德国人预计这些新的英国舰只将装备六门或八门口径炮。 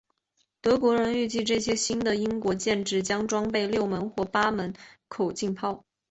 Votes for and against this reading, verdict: 3, 2, accepted